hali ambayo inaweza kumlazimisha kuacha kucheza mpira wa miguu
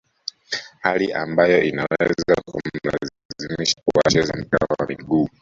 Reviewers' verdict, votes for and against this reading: rejected, 1, 2